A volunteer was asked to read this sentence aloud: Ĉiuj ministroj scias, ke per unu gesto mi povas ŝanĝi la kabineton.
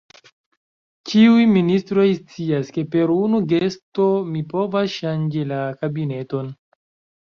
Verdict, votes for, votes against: accepted, 2, 1